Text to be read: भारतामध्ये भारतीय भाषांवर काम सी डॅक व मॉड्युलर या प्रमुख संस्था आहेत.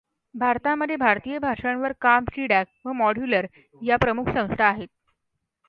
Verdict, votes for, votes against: accepted, 2, 0